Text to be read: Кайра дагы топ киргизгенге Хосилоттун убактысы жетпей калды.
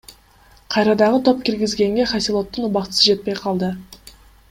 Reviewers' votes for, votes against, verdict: 2, 0, accepted